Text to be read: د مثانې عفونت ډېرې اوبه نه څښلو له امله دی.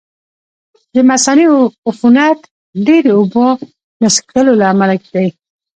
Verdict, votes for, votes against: rejected, 1, 2